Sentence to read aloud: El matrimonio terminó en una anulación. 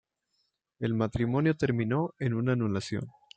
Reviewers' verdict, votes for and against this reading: accepted, 2, 0